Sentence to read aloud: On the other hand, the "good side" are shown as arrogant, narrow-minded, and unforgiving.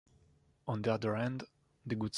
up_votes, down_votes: 0, 2